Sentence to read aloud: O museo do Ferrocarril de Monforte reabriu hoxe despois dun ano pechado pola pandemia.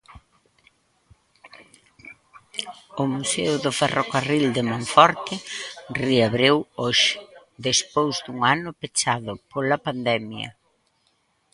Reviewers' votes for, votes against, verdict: 0, 2, rejected